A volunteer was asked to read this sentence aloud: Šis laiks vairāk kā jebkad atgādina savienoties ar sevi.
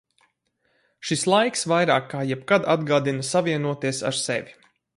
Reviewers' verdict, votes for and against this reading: rejected, 2, 2